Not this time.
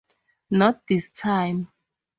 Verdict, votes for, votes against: accepted, 4, 0